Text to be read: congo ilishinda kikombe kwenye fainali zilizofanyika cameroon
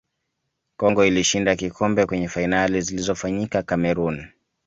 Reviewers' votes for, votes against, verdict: 2, 0, accepted